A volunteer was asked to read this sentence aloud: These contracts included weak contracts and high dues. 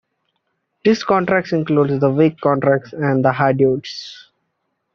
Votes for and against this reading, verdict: 0, 2, rejected